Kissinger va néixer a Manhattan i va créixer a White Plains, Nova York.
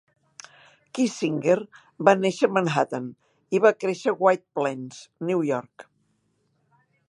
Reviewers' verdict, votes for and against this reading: rejected, 1, 2